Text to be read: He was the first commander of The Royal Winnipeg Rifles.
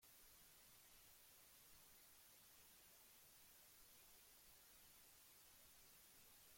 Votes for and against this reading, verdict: 0, 2, rejected